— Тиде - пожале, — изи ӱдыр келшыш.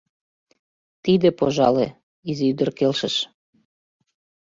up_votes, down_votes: 2, 0